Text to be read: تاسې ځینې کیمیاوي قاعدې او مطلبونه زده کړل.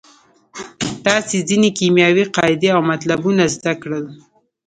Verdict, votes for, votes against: accepted, 2, 0